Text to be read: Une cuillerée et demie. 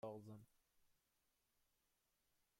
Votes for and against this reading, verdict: 1, 2, rejected